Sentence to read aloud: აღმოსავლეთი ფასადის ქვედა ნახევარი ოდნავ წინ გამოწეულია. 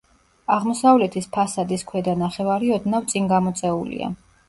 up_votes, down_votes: 0, 2